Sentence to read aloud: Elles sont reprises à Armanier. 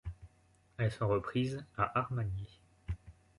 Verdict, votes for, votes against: rejected, 1, 2